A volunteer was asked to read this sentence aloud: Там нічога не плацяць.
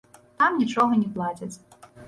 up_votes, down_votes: 1, 2